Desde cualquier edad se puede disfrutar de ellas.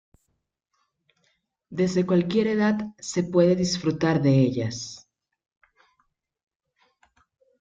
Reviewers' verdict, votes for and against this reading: accepted, 2, 0